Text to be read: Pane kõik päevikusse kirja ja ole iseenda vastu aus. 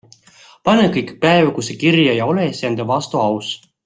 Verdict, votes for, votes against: accepted, 2, 0